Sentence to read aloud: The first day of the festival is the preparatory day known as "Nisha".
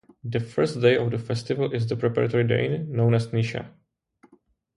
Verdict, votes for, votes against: accepted, 2, 1